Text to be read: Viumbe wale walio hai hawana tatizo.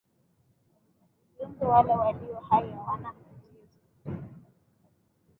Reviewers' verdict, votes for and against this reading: rejected, 1, 2